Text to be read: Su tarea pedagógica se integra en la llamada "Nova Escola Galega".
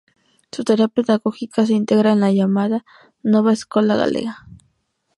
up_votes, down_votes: 2, 0